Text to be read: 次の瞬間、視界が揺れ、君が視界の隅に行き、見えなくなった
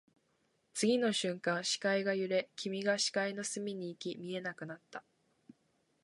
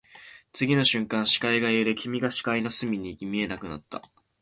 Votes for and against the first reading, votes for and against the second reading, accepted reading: 2, 2, 2, 0, second